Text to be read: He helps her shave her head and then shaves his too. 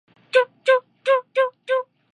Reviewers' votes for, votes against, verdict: 0, 2, rejected